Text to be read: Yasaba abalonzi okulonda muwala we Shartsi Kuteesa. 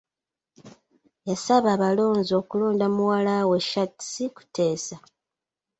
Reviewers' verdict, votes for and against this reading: accepted, 2, 0